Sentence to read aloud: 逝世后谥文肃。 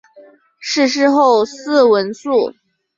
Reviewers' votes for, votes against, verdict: 1, 2, rejected